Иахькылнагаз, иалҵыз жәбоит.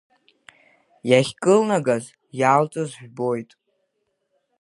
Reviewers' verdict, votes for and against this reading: accepted, 2, 0